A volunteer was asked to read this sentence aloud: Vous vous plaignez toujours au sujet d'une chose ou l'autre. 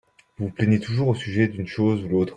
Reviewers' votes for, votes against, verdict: 2, 1, accepted